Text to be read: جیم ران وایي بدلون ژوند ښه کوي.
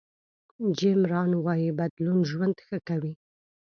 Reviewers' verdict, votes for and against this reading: accepted, 2, 0